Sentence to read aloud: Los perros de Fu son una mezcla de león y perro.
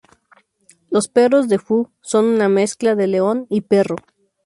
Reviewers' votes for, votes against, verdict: 2, 0, accepted